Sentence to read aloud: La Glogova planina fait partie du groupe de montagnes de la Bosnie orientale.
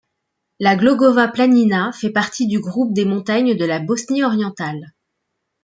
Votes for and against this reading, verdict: 2, 3, rejected